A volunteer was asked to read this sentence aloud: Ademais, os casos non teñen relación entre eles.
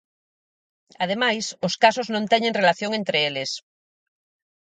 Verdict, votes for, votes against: accepted, 4, 0